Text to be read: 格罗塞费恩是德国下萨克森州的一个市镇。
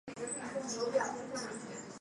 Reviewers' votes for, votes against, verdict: 0, 2, rejected